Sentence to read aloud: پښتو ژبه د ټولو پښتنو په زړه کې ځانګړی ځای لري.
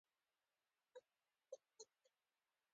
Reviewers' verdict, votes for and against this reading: accepted, 2, 1